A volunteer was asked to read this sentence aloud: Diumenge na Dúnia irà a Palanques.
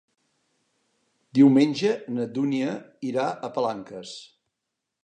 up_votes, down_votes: 3, 0